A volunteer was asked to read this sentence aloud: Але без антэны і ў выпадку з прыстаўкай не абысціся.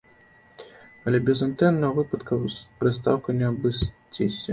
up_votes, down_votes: 1, 2